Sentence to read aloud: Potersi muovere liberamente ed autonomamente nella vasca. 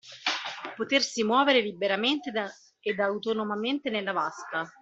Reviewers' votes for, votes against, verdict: 1, 2, rejected